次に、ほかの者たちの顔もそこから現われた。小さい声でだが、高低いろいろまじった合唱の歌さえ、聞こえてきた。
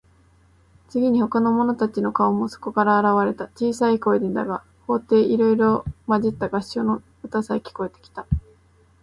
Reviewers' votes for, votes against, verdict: 3, 1, accepted